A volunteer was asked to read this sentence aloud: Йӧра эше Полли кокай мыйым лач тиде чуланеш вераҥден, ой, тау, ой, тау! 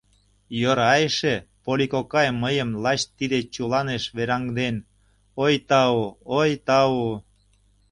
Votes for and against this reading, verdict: 2, 0, accepted